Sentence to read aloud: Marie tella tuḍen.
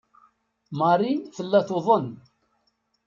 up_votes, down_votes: 2, 0